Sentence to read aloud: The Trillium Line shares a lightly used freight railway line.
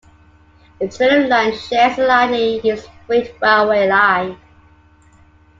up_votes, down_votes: 0, 2